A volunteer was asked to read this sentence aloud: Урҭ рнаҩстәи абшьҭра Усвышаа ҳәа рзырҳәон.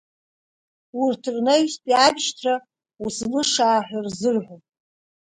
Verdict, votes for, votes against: rejected, 0, 2